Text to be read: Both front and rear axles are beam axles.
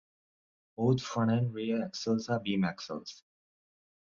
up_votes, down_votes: 2, 0